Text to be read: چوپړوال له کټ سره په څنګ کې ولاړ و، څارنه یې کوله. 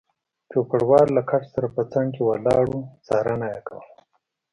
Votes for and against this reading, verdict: 2, 1, accepted